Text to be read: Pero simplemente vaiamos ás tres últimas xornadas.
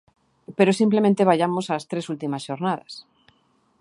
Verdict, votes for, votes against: accepted, 2, 0